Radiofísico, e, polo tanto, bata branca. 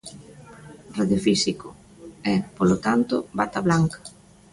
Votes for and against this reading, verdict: 0, 2, rejected